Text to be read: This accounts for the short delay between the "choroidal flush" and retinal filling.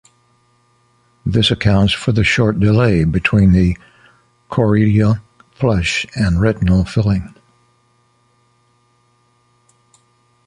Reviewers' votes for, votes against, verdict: 0, 2, rejected